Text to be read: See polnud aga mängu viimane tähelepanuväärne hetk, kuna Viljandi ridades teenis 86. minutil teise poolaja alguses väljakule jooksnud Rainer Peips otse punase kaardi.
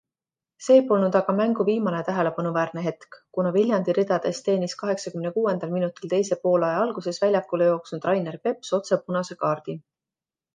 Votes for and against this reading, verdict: 0, 2, rejected